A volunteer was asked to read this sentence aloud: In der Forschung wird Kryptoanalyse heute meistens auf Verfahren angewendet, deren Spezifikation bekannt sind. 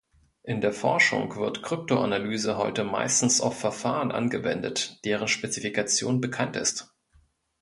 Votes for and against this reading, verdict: 0, 2, rejected